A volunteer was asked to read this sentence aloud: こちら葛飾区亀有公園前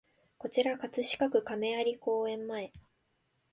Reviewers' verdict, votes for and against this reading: accepted, 2, 0